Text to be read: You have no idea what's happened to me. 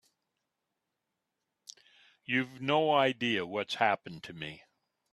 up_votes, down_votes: 0, 2